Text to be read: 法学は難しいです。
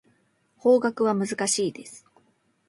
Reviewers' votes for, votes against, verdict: 2, 0, accepted